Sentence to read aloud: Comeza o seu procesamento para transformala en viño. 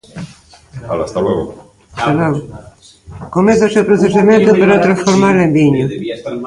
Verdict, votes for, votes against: rejected, 0, 2